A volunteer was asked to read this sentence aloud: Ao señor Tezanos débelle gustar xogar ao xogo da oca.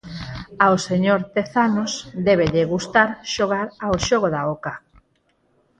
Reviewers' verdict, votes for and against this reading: rejected, 0, 4